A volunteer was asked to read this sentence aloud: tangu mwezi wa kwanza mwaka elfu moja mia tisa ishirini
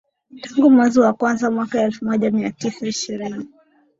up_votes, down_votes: 2, 0